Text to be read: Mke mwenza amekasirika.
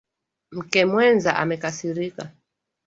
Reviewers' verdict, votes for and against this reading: accepted, 2, 1